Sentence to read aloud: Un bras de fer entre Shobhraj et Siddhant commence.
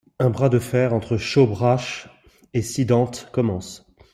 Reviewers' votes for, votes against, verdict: 2, 0, accepted